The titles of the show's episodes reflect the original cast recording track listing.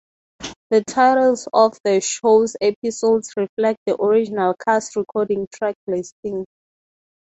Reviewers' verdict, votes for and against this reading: rejected, 0, 3